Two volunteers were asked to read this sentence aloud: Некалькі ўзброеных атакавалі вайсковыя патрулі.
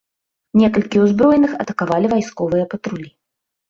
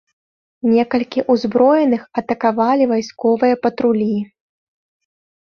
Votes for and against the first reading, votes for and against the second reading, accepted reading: 2, 0, 1, 2, first